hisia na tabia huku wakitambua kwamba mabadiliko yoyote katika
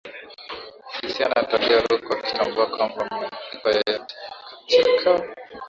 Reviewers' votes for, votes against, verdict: 1, 2, rejected